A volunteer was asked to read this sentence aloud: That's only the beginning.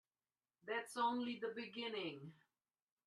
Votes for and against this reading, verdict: 2, 0, accepted